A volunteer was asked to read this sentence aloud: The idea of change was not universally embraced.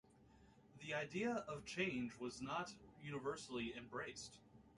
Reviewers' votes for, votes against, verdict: 0, 2, rejected